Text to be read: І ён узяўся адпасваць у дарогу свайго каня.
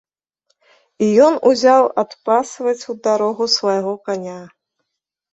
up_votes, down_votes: 1, 3